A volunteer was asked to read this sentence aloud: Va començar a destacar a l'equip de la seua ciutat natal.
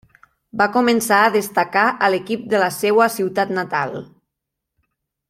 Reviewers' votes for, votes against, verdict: 3, 0, accepted